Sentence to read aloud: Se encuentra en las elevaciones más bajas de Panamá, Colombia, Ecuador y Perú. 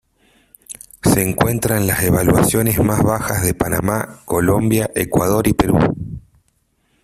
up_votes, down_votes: 0, 2